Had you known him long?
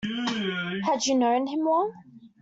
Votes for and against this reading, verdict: 2, 1, accepted